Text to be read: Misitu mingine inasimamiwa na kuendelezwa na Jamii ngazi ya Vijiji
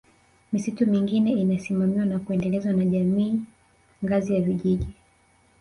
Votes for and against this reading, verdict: 4, 1, accepted